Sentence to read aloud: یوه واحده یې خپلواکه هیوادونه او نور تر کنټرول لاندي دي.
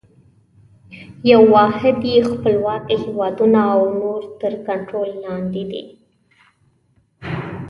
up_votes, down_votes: 2, 1